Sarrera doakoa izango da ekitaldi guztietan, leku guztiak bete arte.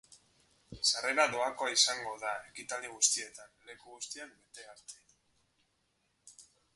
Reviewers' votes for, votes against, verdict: 2, 2, rejected